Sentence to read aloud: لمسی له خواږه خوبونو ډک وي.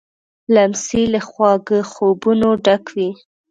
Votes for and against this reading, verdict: 1, 2, rejected